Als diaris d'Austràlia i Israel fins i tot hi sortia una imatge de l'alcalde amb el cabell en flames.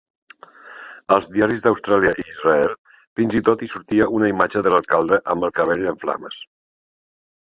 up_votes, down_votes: 2, 0